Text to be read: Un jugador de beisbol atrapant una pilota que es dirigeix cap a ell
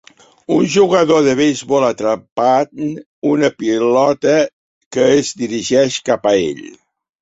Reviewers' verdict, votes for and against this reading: rejected, 1, 2